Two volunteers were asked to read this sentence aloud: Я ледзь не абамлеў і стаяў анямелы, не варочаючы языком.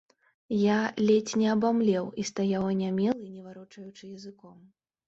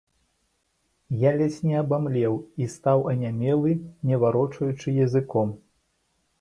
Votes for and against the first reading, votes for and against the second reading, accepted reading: 0, 2, 2, 1, second